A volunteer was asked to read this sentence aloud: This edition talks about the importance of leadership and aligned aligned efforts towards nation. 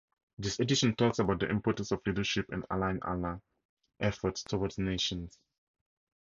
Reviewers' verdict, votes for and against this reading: accepted, 2, 0